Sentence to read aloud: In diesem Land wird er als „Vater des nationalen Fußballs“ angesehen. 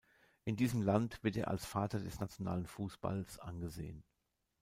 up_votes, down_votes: 2, 1